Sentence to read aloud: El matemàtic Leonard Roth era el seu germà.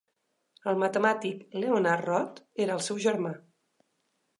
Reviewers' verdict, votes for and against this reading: accepted, 2, 0